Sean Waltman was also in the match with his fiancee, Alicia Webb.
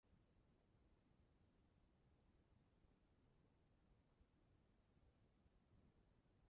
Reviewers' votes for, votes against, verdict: 0, 3, rejected